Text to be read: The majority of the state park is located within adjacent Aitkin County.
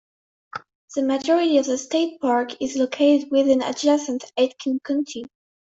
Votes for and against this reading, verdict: 2, 3, rejected